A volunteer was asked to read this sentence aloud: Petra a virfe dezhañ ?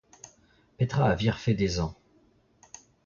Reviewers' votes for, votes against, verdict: 0, 2, rejected